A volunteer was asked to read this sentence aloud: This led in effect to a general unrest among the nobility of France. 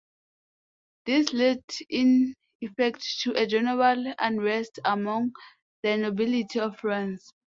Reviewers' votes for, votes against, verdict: 2, 0, accepted